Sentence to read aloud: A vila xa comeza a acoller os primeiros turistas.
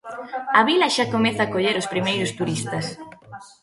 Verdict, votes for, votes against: rejected, 1, 2